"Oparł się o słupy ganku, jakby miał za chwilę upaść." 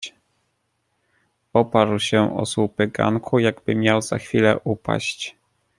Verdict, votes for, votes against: accepted, 2, 0